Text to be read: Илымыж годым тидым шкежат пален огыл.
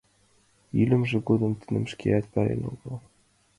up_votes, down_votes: 0, 2